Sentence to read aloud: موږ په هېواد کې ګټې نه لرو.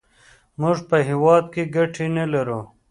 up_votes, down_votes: 2, 0